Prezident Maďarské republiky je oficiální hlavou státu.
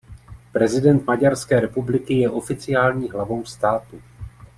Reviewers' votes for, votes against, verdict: 2, 0, accepted